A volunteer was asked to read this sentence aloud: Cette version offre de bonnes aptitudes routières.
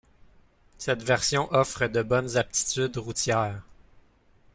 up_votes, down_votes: 2, 0